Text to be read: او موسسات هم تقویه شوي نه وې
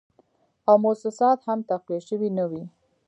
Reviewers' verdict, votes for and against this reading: accepted, 2, 0